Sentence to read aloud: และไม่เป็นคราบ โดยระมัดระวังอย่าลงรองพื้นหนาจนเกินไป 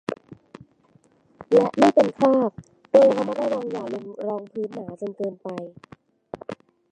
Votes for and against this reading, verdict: 0, 2, rejected